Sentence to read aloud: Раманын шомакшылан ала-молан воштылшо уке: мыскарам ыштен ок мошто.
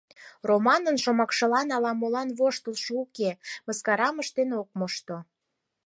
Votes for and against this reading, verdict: 4, 2, accepted